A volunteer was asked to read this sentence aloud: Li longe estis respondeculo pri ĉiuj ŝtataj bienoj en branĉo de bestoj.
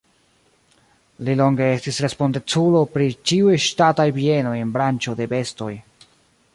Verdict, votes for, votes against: rejected, 1, 3